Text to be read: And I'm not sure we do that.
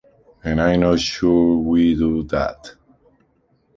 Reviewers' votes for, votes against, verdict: 2, 0, accepted